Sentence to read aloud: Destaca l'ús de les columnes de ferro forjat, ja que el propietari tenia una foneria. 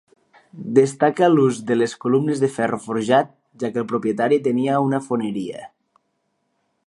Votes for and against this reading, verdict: 2, 0, accepted